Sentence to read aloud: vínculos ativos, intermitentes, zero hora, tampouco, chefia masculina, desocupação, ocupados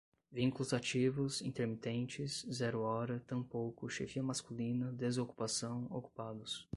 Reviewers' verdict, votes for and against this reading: rejected, 5, 5